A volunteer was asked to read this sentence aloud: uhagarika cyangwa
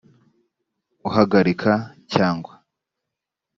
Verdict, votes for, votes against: accepted, 2, 0